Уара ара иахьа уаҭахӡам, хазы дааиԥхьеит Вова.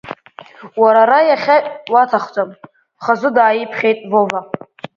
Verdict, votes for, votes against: accepted, 2, 0